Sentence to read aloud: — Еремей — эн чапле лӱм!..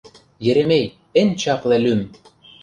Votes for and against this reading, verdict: 2, 0, accepted